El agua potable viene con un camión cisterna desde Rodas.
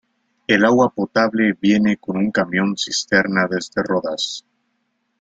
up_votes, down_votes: 2, 0